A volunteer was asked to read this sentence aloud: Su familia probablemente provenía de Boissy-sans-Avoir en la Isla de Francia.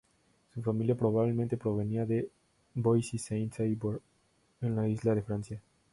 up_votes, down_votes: 2, 0